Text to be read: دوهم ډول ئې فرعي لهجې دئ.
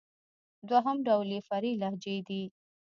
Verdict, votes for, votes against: rejected, 1, 2